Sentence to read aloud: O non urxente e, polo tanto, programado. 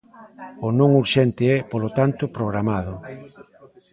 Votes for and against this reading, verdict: 0, 2, rejected